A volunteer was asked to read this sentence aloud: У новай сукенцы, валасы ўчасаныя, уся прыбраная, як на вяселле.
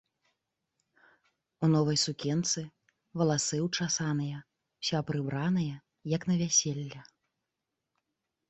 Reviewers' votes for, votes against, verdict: 3, 0, accepted